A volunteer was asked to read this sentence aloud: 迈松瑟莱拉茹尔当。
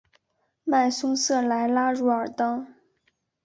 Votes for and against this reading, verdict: 2, 0, accepted